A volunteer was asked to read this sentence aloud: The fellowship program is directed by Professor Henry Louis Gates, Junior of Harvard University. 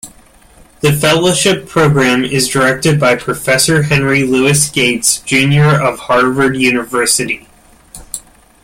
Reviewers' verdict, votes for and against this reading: accepted, 2, 0